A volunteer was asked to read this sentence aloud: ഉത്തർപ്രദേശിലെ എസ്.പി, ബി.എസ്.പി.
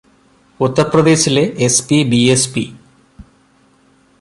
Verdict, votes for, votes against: accepted, 2, 1